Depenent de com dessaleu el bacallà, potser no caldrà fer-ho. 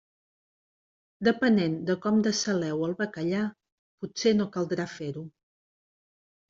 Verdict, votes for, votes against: accepted, 2, 0